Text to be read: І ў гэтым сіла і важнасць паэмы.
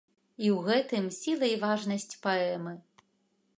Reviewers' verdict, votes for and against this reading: accepted, 2, 0